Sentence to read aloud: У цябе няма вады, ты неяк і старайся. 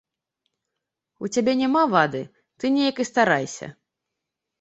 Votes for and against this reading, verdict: 0, 2, rejected